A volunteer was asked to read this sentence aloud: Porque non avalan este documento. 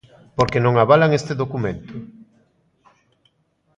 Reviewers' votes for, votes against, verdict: 2, 0, accepted